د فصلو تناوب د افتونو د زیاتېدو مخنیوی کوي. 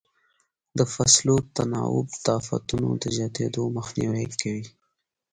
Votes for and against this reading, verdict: 2, 0, accepted